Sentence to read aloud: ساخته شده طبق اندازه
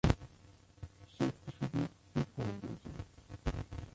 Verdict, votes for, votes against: rejected, 0, 2